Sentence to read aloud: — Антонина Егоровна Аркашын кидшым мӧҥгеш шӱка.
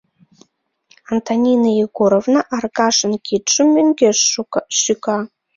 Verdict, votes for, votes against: rejected, 1, 2